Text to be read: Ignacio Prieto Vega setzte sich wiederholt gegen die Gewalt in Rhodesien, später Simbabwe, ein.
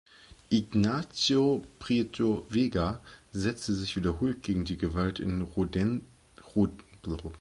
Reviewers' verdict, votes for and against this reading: rejected, 0, 2